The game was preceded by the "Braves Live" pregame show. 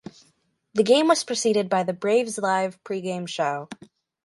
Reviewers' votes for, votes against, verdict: 4, 0, accepted